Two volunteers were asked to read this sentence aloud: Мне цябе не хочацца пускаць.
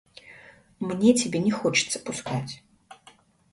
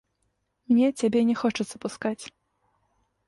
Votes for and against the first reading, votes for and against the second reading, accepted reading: 1, 2, 2, 0, second